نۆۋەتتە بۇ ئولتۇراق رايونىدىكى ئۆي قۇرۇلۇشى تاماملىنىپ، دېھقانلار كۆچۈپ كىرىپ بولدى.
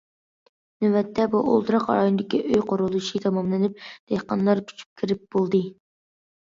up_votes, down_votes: 2, 1